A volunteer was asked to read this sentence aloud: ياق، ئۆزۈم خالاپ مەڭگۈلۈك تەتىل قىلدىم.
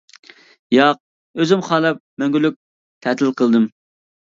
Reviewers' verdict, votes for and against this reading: accepted, 2, 0